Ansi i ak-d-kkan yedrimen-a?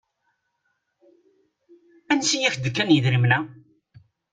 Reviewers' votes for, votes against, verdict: 2, 0, accepted